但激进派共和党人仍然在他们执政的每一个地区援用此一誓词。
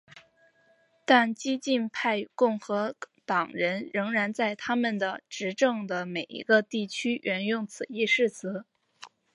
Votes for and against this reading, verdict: 1, 2, rejected